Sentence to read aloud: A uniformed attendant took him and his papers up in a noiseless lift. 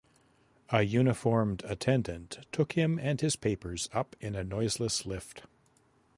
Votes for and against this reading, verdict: 2, 0, accepted